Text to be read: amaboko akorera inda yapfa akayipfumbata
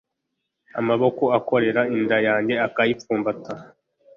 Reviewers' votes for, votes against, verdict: 0, 2, rejected